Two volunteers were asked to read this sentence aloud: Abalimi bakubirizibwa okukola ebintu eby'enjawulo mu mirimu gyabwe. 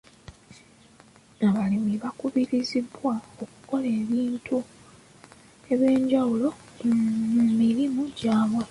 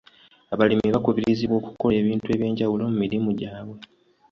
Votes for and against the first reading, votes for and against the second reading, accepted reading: 1, 2, 2, 0, second